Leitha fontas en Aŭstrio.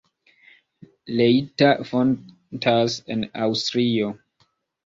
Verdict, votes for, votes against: accepted, 2, 0